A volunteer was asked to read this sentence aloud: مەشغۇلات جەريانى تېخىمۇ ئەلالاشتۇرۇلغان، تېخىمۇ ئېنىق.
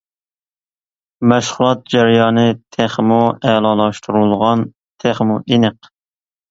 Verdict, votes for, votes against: accepted, 2, 0